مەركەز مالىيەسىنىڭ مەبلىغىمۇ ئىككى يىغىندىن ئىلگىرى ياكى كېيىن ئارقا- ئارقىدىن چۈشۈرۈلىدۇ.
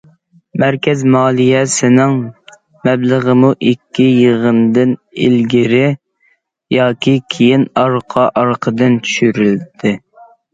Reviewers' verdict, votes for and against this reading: rejected, 0, 2